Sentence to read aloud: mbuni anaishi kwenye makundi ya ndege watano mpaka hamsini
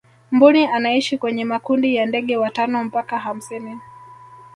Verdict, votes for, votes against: accepted, 2, 0